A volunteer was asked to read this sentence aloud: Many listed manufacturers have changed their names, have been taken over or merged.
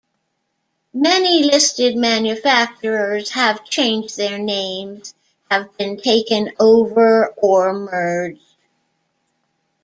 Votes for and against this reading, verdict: 2, 1, accepted